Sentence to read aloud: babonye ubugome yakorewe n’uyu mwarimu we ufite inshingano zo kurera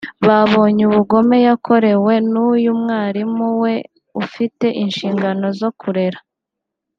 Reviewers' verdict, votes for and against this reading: accepted, 2, 0